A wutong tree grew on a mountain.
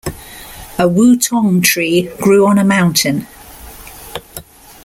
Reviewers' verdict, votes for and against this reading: accepted, 2, 0